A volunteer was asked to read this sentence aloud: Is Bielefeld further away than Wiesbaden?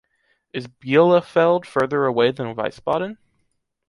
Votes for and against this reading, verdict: 1, 2, rejected